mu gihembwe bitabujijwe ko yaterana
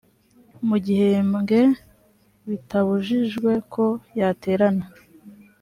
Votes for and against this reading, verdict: 2, 0, accepted